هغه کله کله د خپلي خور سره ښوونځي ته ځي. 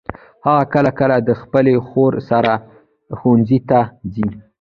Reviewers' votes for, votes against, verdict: 0, 2, rejected